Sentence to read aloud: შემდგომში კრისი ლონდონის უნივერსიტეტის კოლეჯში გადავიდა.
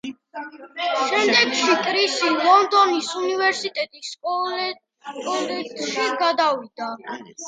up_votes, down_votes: 1, 2